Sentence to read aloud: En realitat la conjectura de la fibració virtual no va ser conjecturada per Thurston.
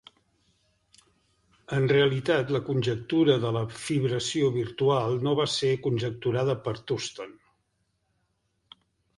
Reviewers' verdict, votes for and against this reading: accepted, 2, 0